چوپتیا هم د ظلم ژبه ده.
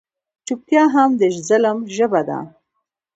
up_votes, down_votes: 1, 2